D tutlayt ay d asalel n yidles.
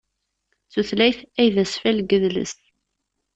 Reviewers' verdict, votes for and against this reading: rejected, 1, 2